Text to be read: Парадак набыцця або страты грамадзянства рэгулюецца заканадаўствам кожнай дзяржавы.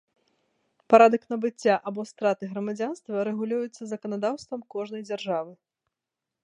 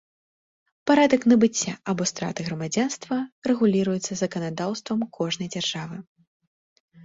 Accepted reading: first